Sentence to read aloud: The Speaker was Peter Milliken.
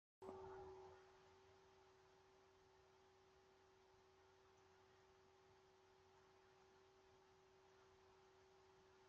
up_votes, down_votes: 0, 2